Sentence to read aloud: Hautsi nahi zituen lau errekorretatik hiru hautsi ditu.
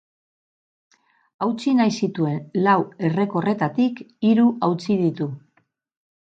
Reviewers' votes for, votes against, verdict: 2, 0, accepted